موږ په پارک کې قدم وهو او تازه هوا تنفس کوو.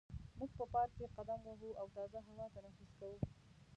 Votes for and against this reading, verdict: 1, 2, rejected